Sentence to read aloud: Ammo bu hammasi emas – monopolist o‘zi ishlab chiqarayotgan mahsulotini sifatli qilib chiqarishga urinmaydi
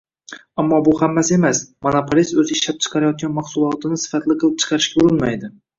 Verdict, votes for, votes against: rejected, 1, 2